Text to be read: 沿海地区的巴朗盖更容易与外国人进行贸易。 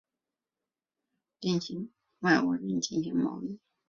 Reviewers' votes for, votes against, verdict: 0, 3, rejected